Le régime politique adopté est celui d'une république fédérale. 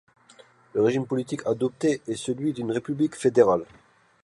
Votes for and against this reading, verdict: 2, 0, accepted